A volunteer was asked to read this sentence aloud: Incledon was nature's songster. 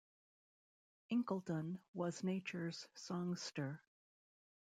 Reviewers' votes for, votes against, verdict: 1, 2, rejected